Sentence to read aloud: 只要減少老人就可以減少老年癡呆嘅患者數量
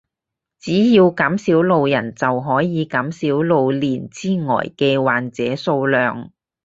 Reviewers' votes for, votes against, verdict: 2, 2, rejected